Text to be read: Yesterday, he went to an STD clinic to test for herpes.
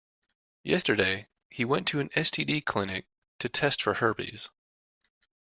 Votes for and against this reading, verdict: 2, 0, accepted